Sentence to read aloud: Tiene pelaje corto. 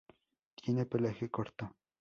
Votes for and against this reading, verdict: 2, 0, accepted